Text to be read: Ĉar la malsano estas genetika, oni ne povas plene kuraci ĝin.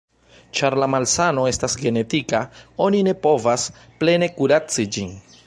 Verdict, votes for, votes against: accepted, 2, 0